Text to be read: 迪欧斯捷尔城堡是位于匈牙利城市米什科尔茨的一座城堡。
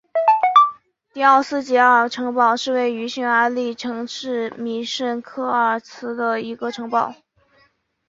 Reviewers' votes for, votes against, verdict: 1, 2, rejected